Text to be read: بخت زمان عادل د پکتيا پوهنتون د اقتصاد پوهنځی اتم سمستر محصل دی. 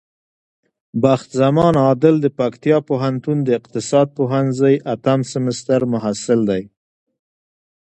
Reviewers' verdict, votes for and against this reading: accepted, 2, 1